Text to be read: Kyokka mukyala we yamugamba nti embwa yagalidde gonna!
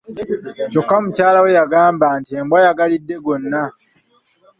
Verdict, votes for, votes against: rejected, 1, 2